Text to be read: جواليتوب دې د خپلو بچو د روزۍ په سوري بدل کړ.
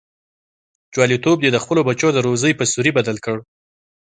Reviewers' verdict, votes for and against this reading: accepted, 2, 0